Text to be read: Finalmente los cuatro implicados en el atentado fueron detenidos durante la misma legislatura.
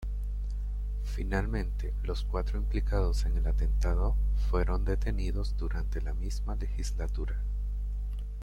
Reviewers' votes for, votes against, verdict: 2, 0, accepted